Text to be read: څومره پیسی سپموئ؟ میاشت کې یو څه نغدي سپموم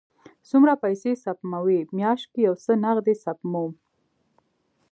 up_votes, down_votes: 2, 0